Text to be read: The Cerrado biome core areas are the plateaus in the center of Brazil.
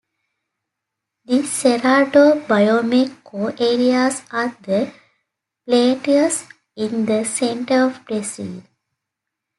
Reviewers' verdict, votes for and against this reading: rejected, 1, 2